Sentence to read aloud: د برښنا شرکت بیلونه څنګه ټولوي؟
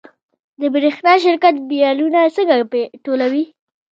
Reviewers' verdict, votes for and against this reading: rejected, 1, 2